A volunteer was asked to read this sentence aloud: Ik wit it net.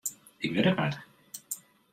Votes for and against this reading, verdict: 1, 2, rejected